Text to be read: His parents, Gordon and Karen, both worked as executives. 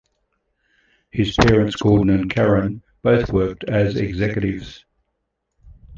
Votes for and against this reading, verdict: 2, 0, accepted